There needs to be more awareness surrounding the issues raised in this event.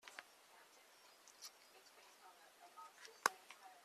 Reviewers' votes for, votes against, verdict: 0, 2, rejected